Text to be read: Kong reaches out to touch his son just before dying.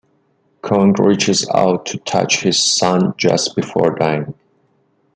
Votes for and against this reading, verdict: 2, 0, accepted